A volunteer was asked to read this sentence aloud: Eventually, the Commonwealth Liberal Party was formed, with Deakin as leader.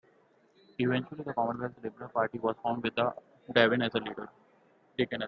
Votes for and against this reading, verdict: 0, 2, rejected